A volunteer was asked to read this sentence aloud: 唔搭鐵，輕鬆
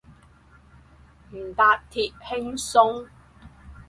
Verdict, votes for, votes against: accepted, 4, 0